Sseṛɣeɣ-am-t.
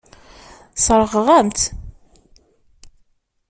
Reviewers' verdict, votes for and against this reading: rejected, 0, 2